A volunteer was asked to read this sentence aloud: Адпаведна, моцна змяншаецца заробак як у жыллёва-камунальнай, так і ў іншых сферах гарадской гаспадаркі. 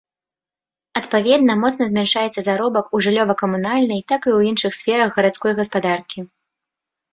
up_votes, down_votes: 2, 3